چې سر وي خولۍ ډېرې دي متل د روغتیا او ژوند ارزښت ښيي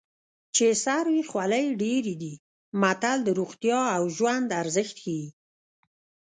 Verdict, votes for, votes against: rejected, 1, 2